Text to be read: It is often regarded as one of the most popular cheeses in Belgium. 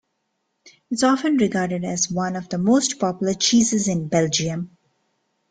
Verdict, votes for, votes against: rejected, 0, 2